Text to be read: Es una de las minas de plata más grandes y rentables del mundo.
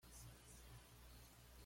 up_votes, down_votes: 1, 2